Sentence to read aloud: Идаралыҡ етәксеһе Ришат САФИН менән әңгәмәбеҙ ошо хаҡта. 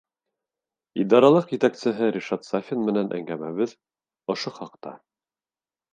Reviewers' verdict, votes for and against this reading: accepted, 3, 1